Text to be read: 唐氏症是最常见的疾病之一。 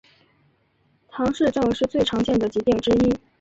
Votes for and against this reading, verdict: 1, 2, rejected